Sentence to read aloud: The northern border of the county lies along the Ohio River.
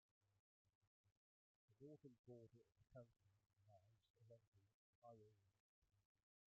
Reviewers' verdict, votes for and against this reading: rejected, 0, 3